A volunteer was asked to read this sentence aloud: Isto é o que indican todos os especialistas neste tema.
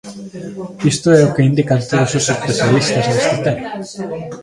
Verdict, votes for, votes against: rejected, 1, 2